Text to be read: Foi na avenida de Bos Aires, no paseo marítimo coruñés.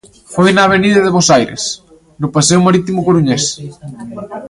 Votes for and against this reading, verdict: 0, 2, rejected